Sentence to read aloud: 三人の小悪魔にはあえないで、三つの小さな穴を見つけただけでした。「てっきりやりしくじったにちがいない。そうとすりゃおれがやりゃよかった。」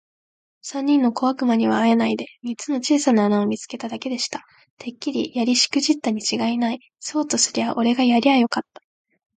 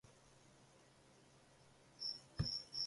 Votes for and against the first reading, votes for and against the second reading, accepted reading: 2, 0, 1, 2, first